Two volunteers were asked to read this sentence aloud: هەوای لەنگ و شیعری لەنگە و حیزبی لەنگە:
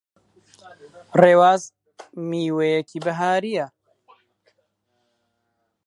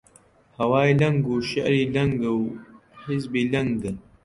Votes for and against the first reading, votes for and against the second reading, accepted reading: 0, 2, 2, 0, second